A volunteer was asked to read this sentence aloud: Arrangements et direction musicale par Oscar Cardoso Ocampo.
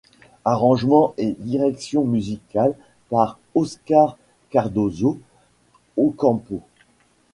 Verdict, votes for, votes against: rejected, 0, 2